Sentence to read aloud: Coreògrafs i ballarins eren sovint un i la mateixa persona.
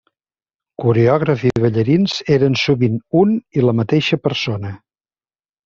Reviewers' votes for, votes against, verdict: 3, 0, accepted